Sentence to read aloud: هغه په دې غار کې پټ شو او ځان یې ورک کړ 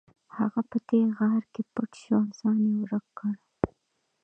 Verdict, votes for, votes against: rejected, 0, 2